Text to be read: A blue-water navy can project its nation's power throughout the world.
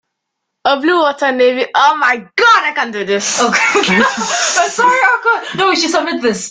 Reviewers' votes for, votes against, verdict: 0, 2, rejected